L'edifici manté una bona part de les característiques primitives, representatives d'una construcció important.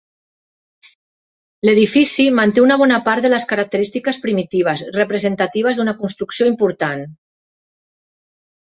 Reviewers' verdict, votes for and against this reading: accepted, 3, 0